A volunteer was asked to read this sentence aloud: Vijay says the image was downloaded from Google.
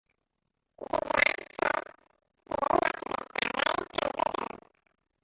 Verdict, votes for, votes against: rejected, 0, 2